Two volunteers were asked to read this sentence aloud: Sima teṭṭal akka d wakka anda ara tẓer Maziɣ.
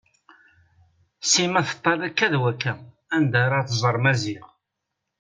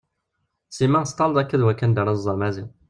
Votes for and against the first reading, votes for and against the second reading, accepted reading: 2, 0, 1, 2, first